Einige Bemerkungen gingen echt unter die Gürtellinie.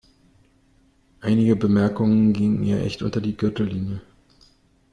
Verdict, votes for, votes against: rejected, 0, 2